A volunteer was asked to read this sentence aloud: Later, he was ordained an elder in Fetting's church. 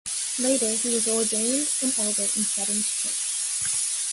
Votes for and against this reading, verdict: 1, 2, rejected